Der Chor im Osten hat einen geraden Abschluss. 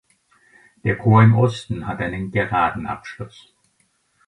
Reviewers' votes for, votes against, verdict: 2, 0, accepted